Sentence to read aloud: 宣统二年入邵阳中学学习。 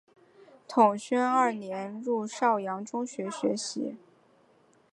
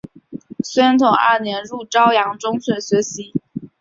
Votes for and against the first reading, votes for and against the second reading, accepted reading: 0, 2, 3, 1, second